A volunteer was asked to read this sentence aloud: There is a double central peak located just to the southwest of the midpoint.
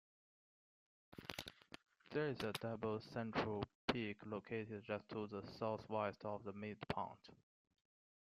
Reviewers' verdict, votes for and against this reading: accepted, 2, 0